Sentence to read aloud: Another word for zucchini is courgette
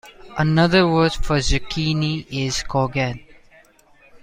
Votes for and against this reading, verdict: 2, 0, accepted